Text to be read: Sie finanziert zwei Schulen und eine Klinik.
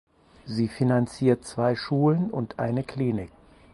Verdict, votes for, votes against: accepted, 4, 0